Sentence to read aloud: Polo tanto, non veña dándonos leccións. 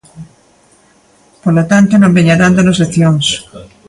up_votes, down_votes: 2, 0